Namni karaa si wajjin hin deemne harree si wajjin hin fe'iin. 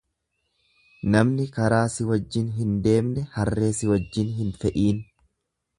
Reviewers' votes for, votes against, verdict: 2, 0, accepted